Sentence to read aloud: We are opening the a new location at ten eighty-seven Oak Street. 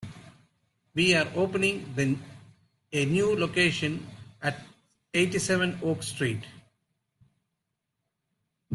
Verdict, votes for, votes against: rejected, 0, 2